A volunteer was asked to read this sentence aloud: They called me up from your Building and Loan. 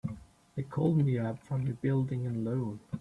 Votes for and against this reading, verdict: 1, 2, rejected